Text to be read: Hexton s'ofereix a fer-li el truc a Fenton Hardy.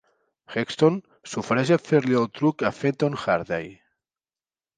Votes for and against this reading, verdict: 2, 0, accepted